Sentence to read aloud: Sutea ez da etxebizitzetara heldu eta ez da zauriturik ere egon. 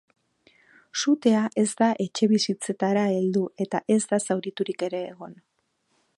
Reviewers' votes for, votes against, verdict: 4, 0, accepted